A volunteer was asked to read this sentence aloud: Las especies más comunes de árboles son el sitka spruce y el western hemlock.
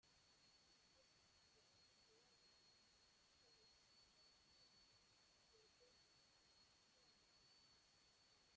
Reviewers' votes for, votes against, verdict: 0, 2, rejected